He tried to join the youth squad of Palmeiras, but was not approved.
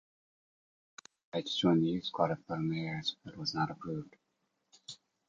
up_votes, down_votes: 0, 2